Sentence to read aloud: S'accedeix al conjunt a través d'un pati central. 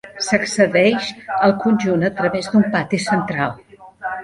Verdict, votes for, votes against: rejected, 1, 2